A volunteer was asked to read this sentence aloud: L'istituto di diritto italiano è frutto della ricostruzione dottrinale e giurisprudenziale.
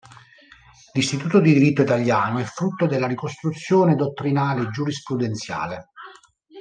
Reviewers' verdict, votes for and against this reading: rejected, 0, 2